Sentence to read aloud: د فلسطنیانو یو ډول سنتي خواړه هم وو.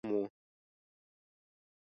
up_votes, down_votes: 1, 2